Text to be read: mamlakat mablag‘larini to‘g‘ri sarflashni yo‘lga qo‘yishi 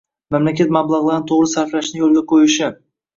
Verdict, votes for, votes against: rejected, 2, 3